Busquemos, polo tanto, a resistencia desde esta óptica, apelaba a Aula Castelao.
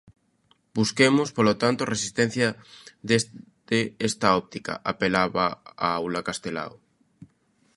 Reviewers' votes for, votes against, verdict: 0, 2, rejected